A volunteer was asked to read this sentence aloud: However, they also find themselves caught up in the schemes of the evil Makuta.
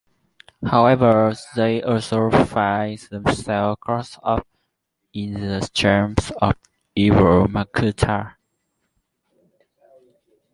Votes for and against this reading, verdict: 0, 2, rejected